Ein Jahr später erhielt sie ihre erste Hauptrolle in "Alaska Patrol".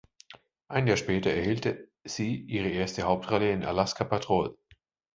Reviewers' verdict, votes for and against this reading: rejected, 0, 2